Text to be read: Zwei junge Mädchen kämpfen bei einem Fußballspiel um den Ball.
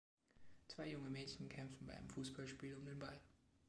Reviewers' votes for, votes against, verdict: 2, 0, accepted